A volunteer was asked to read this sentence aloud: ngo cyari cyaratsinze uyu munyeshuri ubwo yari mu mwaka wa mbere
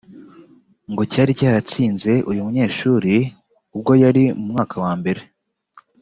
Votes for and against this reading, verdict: 2, 0, accepted